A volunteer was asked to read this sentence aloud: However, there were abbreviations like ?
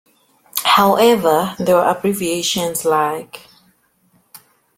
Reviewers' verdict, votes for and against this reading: accepted, 2, 1